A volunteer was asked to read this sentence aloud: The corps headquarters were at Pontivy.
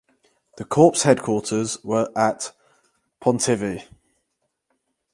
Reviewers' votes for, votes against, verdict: 4, 0, accepted